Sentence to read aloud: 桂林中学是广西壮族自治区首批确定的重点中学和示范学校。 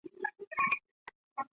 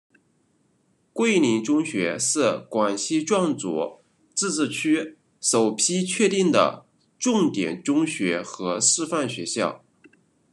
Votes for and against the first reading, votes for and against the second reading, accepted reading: 0, 3, 2, 0, second